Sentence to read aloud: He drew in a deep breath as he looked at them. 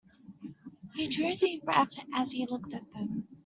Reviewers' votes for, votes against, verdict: 0, 2, rejected